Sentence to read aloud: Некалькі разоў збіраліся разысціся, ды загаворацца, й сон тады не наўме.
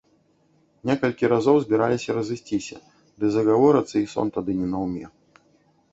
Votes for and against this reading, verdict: 2, 0, accepted